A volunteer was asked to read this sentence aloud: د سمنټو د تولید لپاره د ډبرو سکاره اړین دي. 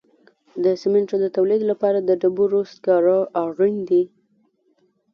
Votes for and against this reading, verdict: 1, 2, rejected